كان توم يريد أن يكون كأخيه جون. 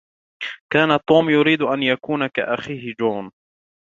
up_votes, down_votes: 2, 0